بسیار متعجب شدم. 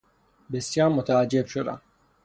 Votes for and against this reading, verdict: 6, 0, accepted